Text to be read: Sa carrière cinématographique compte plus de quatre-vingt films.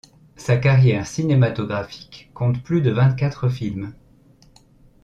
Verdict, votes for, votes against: rejected, 1, 2